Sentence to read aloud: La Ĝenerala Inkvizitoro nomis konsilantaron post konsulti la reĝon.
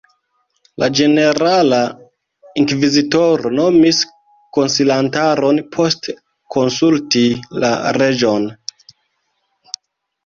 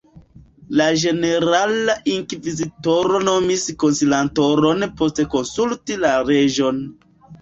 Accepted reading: second